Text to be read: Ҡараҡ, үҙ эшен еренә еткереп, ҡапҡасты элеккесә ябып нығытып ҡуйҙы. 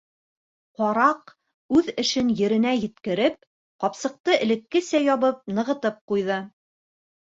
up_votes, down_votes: 1, 2